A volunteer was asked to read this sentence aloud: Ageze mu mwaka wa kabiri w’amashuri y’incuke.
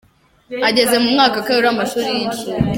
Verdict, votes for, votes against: rejected, 1, 2